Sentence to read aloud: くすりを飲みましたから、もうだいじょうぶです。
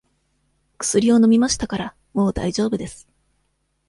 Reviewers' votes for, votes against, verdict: 2, 0, accepted